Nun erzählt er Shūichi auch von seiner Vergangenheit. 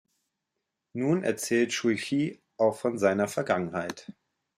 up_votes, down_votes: 1, 2